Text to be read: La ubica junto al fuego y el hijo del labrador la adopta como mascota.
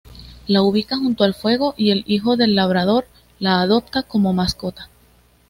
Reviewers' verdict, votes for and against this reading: accepted, 2, 0